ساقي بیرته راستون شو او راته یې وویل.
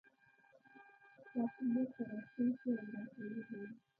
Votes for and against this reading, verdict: 1, 2, rejected